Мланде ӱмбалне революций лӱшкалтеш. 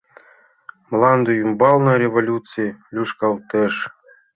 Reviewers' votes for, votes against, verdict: 2, 0, accepted